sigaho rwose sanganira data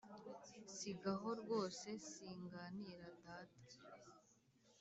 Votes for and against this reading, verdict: 0, 3, rejected